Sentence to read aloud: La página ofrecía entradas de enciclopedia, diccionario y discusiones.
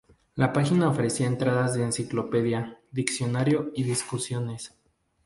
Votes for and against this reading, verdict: 4, 0, accepted